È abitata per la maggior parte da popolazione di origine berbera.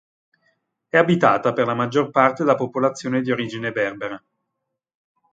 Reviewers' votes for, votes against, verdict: 2, 1, accepted